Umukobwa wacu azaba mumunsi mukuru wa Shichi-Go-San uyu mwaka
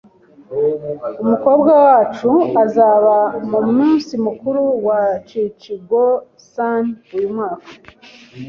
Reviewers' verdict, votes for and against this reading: accepted, 2, 0